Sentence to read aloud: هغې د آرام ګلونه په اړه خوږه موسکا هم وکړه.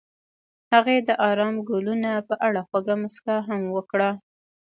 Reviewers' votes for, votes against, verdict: 0, 2, rejected